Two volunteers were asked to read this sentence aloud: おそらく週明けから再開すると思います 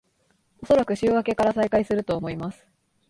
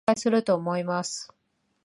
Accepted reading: first